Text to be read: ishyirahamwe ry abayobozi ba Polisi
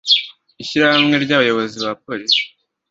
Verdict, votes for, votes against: accepted, 2, 0